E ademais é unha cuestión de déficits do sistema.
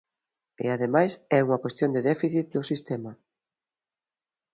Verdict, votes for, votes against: accepted, 2, 0